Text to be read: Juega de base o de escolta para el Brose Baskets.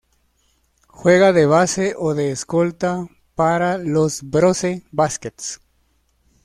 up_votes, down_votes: 0, 2